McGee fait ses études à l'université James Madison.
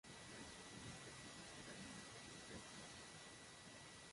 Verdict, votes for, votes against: rejected, 0, 2